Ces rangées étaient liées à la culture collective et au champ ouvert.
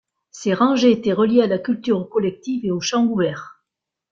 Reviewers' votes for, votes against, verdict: 1, 2, rejected